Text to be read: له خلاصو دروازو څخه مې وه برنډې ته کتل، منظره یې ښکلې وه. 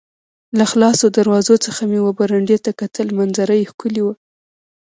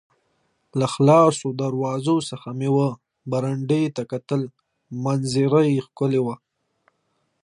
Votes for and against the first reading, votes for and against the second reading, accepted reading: 1, 2, 2, 0, second